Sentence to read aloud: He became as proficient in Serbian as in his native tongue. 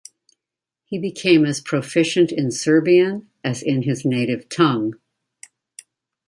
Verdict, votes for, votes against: accepted, 2, 0